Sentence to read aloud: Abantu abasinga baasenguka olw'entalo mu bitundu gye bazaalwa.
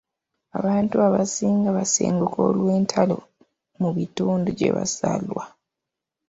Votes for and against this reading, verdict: 2, 1, accepted